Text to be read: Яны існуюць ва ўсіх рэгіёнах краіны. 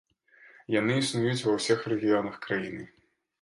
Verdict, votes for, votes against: rejected, 1, 2